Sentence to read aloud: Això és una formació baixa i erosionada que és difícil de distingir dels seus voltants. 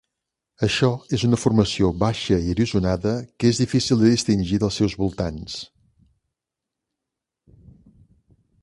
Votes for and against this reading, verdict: 1, 2, rejected